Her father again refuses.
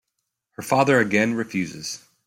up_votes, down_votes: 2, 0